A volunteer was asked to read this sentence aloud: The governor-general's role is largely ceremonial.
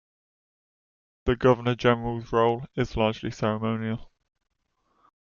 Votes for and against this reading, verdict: 2, 0, accepted